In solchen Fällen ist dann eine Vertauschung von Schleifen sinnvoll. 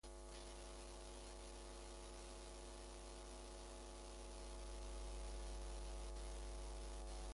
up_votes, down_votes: 0, 2